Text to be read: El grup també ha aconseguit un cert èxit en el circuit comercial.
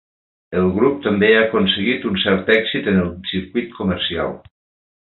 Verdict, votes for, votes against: accepted, 3, 0